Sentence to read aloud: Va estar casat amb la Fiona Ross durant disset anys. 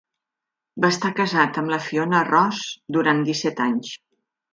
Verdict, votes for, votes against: accepted, 2, 0